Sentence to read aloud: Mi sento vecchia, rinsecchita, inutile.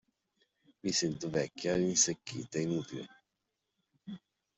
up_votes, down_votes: 2, 0